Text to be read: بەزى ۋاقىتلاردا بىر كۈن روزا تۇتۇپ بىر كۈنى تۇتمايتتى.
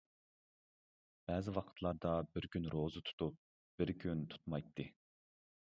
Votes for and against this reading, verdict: 1, 2, rejected